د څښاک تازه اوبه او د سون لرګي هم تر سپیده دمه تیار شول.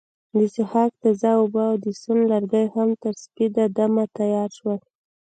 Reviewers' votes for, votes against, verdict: 2, 0, accepted